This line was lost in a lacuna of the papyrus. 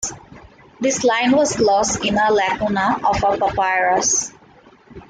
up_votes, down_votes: 2, 1